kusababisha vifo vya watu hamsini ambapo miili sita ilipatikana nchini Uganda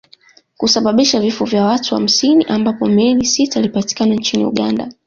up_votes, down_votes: 0, 2